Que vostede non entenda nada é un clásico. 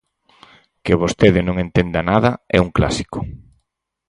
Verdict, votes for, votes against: accepted, 6, 0